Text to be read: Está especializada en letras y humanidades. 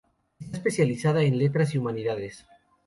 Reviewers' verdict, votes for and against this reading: rejected, 0, 2